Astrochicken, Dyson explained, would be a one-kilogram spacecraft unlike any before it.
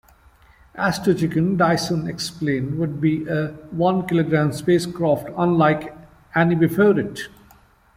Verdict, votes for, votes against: rejected, 1, 2